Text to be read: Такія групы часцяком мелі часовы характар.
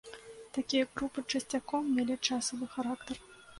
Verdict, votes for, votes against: rejected, 1, 2